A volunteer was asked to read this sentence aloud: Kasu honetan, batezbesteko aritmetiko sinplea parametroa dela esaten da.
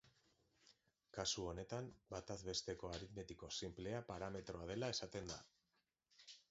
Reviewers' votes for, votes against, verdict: 2, 0, accepted